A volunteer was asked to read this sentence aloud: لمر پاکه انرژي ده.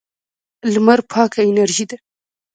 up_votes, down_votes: 1, 2